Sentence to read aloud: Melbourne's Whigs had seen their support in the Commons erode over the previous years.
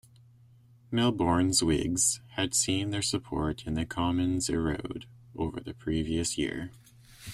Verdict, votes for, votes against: rejected, 0, 2